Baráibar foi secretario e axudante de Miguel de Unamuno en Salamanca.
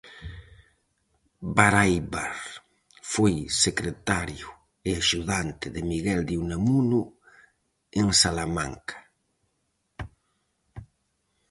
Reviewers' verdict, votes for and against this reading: accepted, 4, 0